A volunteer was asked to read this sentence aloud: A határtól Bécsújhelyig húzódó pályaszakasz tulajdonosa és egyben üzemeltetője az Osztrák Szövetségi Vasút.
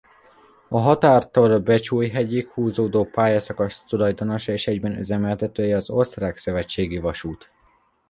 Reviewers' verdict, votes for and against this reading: rejected, 0, 2